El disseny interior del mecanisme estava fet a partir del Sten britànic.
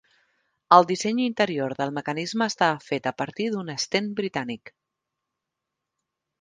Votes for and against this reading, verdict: 3, 1, accepted